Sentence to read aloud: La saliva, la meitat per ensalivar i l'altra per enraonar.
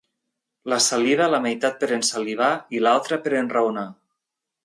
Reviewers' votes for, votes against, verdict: 0, 2, rejected